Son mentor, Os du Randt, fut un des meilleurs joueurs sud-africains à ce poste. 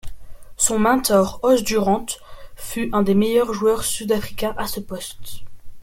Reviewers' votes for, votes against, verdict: 2, 0, accepted